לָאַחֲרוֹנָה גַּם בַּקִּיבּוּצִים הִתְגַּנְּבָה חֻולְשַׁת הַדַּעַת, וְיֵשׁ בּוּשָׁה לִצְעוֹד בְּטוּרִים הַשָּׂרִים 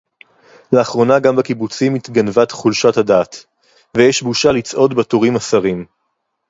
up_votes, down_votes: 2, 2